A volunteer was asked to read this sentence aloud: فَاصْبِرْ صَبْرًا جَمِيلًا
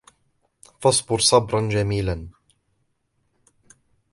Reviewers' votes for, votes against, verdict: 2, 0, accepted